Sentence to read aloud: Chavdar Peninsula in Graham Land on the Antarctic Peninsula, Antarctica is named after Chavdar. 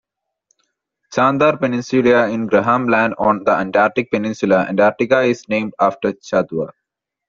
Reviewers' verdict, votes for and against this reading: rejected, 0, 2